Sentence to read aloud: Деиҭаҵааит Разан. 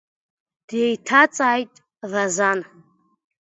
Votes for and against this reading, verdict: 2, 0, accepted